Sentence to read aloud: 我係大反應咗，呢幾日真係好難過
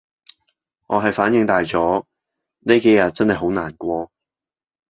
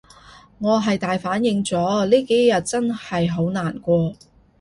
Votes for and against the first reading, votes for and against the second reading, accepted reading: 1, 2, 2, 0, second